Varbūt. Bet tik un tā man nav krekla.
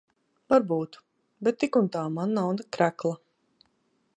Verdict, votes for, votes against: rejected, 0, 2